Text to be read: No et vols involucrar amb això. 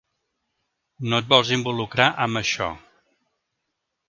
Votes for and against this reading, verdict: 3, 0, accepted